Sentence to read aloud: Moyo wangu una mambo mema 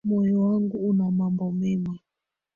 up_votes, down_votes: 1, 2